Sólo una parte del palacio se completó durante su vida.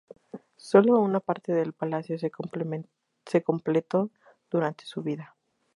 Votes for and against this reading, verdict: 2, 0, accepted